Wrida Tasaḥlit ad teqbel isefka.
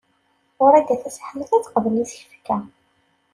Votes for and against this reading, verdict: 2, 0, accepted